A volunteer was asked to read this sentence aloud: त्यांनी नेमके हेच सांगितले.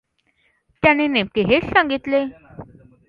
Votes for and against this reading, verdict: 2, 0, accepted